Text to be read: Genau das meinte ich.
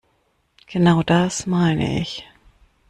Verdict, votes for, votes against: rejected, 0, 2